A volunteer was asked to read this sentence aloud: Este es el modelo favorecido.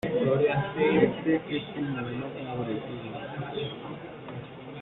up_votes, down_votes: 0, 2